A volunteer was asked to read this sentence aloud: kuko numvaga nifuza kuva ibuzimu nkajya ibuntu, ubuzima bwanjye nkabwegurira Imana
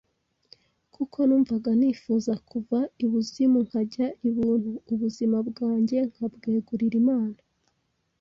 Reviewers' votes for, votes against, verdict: 2, 0, accepted